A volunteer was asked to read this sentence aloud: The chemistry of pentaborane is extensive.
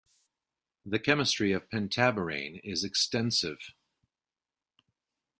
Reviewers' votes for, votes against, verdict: 2, 0, accepted